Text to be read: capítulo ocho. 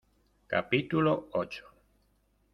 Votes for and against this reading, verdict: 2, 0, accepted